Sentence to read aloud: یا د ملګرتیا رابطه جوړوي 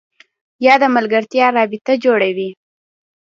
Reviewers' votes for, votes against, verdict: 2, 0, accepted